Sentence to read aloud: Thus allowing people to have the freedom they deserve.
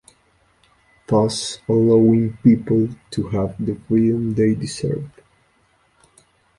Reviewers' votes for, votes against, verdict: 3, 1, accepted